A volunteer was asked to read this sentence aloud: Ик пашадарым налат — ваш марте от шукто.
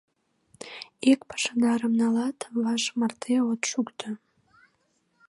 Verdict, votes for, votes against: accepted, 2, 0